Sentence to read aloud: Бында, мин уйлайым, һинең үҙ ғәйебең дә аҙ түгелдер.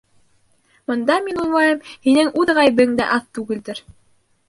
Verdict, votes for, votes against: rejected, 0, 2